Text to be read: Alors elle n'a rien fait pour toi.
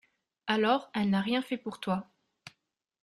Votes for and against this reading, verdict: 2, 0, accepted